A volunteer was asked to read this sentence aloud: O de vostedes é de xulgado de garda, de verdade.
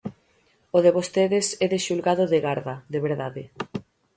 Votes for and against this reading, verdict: 6, 0, accepted